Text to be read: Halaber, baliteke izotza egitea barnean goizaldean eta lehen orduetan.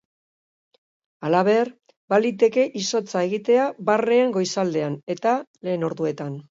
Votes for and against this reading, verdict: 0, 2, rejected